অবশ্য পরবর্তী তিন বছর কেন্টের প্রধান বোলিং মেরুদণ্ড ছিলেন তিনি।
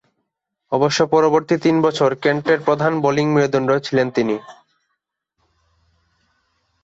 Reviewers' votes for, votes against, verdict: 2, 0, accepted